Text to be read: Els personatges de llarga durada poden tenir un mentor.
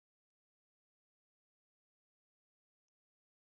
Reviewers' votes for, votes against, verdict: 0, 2, rejected